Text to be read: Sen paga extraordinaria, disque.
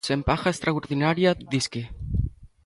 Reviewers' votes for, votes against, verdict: 2, 0, accepted